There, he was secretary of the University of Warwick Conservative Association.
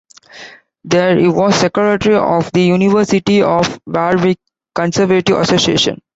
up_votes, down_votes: 1, 2